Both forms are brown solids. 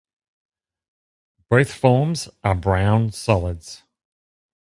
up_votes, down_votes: 2, 0